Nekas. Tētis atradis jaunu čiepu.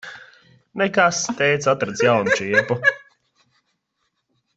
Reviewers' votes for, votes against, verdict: 1, 2, rejected